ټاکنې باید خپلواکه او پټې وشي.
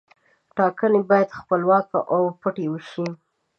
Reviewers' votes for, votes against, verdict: 2, 0, accepted